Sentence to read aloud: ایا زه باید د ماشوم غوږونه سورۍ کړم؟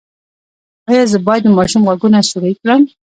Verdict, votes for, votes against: rejected, 1, 2